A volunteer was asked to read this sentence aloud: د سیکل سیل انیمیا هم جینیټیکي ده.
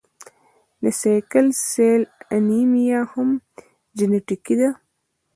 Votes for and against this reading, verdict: 0, 2, rejected